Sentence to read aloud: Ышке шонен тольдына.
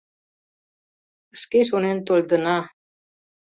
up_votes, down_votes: 0, 2